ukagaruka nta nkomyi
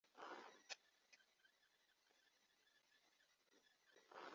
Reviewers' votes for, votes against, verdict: 0, 2, rejected